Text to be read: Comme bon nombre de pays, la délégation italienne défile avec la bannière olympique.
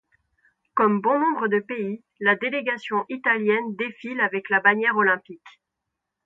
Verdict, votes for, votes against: accepted, 2, 0